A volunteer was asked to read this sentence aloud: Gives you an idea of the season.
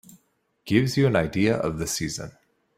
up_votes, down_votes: 3, 0